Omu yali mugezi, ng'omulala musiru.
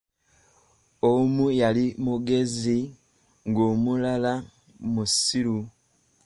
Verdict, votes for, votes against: accepted, 2, 0